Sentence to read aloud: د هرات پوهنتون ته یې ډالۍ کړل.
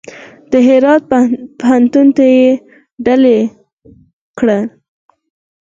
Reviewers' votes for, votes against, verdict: 0, 4, rejected